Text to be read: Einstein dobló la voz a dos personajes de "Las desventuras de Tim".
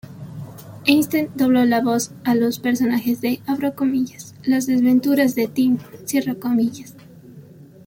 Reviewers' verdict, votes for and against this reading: rejected, 1, 2